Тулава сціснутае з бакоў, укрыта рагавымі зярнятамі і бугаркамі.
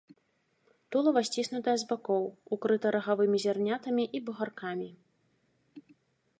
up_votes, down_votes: 2, 0